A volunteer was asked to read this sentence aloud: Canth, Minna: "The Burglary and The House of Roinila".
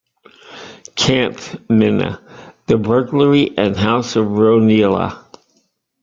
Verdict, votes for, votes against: rejected, 0, 2